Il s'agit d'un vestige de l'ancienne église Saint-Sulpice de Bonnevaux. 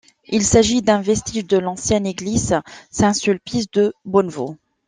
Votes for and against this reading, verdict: 2, 0, accepted